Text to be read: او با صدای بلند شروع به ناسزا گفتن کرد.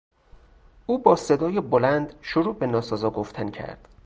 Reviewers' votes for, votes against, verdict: 2, 0, accepted